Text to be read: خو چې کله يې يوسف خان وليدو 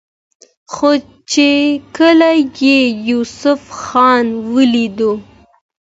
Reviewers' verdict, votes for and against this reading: accepted, 2, 0